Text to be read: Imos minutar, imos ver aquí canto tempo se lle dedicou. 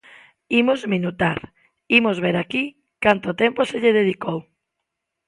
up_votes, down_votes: 2, 0